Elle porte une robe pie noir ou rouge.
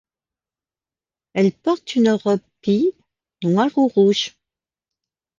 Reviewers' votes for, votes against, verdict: 0, 2, rejected